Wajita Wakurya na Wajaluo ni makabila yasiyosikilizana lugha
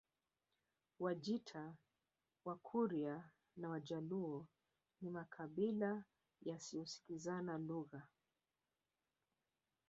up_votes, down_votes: 5, 1